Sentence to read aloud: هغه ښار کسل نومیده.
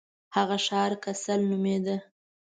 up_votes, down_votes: 2, 0